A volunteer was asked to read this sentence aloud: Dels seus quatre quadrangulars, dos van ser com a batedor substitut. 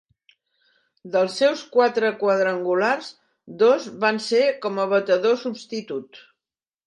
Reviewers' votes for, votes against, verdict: 2, 0, accepted